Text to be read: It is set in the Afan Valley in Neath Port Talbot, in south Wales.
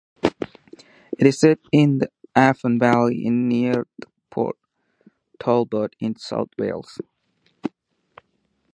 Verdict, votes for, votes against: rejected, 2, 2